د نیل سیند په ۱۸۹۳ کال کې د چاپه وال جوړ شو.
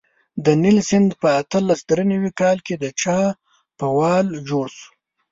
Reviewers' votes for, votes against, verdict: 0, 2, rejected